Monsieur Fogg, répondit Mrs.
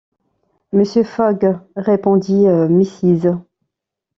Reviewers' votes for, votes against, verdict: 1, 2, rejected